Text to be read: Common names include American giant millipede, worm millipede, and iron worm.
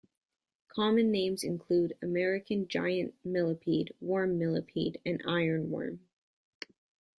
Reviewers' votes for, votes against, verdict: 0, 2, rejected